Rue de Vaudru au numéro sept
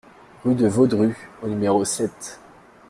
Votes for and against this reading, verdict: 2, 1, accepted